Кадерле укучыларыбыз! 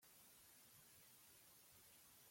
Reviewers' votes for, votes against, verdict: 0, 2, rejected